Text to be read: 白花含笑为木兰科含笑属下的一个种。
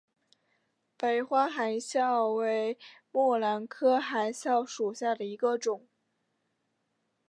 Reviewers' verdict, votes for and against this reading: accepted, 2, 1